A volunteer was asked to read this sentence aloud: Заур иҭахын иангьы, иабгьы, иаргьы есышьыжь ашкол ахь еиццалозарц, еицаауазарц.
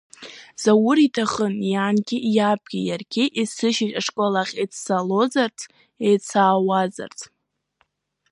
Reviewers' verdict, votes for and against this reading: accepted, 2, 0